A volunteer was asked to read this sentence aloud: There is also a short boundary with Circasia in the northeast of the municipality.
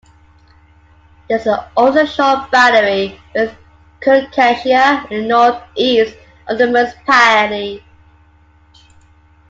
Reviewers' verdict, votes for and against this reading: rejected, 1, 2